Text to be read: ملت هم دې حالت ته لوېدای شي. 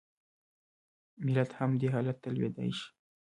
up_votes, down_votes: 1, 2